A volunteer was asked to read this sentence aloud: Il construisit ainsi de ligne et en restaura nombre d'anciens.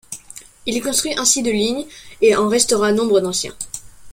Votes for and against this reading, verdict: 0, 2, rejected